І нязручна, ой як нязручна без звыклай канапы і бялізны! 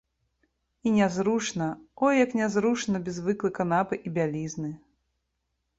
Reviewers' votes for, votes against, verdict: 2, 0, accepted